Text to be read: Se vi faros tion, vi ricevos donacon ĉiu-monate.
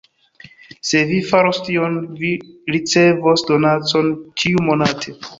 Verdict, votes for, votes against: accepted, 2, 0